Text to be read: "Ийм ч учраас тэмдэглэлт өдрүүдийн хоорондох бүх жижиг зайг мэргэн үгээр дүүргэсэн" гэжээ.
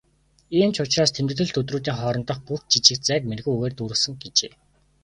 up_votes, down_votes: 3, 0